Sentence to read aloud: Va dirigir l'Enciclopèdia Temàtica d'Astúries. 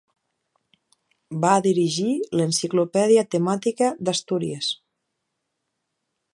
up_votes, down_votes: 2, 0